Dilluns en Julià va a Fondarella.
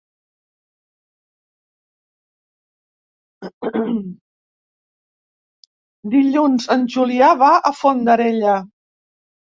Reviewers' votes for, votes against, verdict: 0, 2, rejected